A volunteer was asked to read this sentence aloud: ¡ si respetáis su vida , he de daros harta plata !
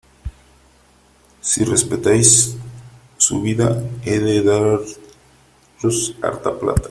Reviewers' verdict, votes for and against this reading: rejected, 0, 2